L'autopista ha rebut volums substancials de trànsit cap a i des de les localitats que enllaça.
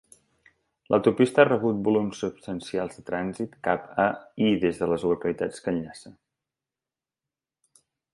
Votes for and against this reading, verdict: 3, 0, accepted